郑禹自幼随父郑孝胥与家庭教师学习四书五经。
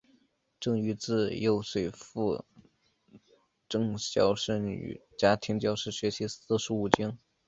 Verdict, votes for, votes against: rejected, 1, 2